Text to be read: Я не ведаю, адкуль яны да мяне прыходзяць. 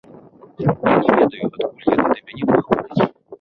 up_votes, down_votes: 1, 3